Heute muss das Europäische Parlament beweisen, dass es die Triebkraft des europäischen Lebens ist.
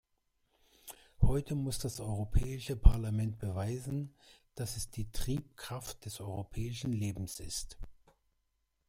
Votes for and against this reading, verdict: 2, 0, accepted